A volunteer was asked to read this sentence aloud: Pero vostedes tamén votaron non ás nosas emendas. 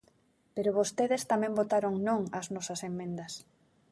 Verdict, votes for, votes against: rejected, 1, 2